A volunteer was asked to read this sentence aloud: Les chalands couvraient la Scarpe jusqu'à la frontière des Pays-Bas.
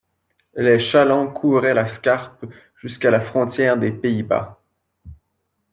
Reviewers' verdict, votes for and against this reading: accepted, 2, 0